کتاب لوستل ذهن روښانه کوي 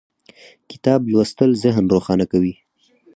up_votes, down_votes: 4, 0